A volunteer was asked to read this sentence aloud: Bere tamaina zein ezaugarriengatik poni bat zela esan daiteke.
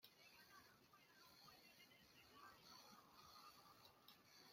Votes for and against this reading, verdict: 0, 2, rejected